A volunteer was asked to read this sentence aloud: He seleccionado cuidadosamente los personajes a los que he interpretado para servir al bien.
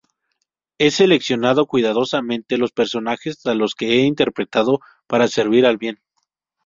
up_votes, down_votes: 0, 2